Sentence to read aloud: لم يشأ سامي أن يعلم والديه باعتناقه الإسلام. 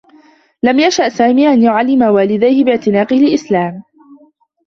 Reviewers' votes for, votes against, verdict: 1, 2, rejected